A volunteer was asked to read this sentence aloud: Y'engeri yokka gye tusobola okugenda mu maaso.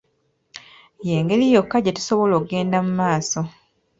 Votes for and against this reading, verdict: 0, 2, rejected